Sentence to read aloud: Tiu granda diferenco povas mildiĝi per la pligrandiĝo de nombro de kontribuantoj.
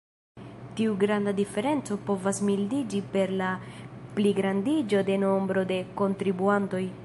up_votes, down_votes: 2, 0